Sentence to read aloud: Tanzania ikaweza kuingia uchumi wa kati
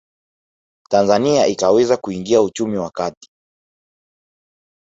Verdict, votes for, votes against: accepted, 2, 0